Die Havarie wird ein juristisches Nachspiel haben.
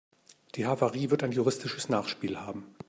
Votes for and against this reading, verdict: 2, 0, accepted